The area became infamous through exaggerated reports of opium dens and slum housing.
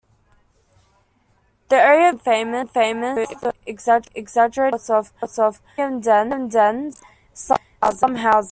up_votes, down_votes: 1, 2